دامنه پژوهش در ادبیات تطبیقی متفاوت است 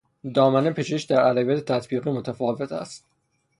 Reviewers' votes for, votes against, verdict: 0, 3, rejected